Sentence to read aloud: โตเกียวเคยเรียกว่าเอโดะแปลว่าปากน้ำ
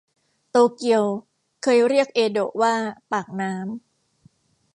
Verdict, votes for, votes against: rejected, 1, 2